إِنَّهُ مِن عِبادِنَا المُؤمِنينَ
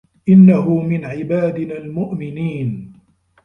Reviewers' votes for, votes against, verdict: 0, 2, rejected